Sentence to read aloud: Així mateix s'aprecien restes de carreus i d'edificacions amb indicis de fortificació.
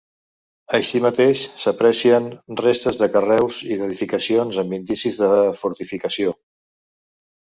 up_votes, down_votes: 1, 2